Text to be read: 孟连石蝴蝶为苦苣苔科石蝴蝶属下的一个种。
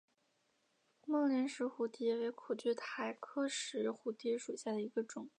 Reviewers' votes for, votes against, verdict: 2, 0, accepted